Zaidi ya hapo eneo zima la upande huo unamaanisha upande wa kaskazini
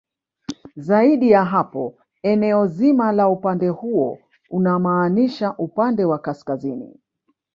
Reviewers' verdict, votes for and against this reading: rejected, 1, 2